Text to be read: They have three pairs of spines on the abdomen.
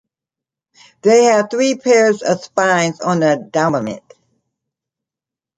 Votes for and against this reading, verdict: 0, 2, rejected